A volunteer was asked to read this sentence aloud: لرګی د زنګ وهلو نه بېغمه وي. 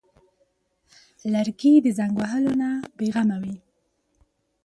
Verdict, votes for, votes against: accepted, 2, 0